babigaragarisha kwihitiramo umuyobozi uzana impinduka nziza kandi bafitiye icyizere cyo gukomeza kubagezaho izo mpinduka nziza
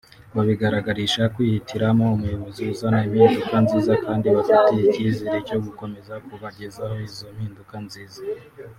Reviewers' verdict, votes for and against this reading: accepted, 3, 1